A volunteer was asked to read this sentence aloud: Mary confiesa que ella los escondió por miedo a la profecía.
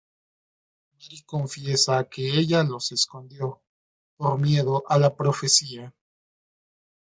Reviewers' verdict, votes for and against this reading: rejected, 1, 2